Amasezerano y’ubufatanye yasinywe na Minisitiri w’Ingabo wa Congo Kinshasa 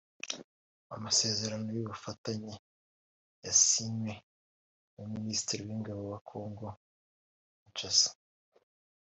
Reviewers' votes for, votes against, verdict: 0, 2, rejected